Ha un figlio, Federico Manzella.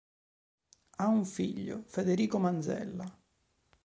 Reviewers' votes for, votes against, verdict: 3, 0, accepted